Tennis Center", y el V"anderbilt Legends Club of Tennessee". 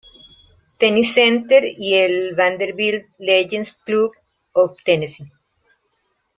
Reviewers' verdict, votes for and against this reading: rejected, 1, 2